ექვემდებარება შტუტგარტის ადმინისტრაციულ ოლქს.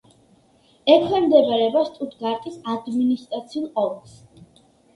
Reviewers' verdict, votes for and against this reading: accepted, 2, 0